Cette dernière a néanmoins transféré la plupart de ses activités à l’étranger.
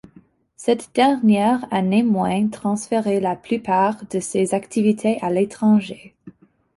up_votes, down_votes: 0, 2